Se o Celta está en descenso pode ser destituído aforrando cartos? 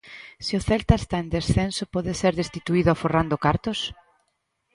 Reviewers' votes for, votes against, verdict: 2, 0, accepted